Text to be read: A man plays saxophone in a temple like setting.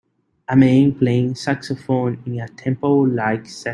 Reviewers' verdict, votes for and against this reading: rejected, 3, 4